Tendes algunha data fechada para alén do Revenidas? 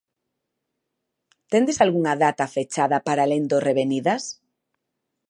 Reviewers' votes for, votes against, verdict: 2, 0, accepted